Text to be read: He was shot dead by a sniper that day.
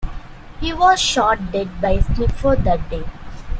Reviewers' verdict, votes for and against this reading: accepted, 2, 1